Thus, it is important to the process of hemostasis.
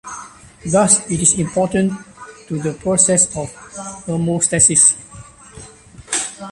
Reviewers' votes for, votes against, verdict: 2, 0, accepted